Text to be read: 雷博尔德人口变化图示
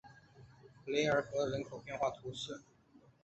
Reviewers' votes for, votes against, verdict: 2, 3, rejected